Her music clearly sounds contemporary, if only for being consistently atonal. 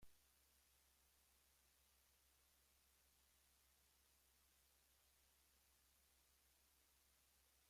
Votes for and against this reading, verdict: 1, 2, rejected